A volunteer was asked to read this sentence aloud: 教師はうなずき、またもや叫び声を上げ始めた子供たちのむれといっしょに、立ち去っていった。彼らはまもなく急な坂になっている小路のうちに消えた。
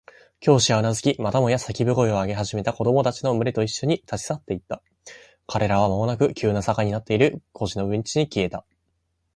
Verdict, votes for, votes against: accepted, 2, 0